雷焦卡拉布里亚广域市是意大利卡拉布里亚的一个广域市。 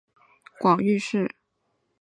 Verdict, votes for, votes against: rejected, 0, 3